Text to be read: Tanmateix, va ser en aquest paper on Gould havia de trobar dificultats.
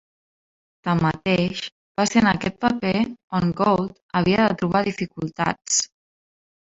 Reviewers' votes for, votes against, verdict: 3, 1, accepted